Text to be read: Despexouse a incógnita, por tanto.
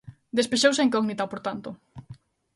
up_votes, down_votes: 2, 0